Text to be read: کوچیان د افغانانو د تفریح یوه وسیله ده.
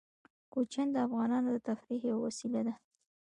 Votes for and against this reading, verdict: 2, 0, accepted